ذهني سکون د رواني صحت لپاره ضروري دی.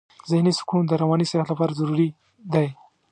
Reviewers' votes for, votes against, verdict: 3, 0, accepted